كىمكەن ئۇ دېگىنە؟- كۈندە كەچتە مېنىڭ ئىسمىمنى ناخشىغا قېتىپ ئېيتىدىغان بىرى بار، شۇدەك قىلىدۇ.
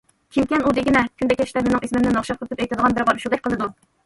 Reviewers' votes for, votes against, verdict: 0, 2, rejected